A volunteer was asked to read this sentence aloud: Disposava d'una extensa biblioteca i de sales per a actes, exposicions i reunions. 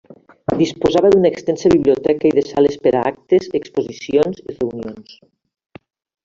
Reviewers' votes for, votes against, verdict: 3, 1, accepted